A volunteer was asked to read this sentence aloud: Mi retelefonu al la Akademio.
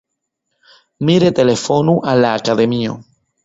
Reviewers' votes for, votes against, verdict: 2, 1, accepted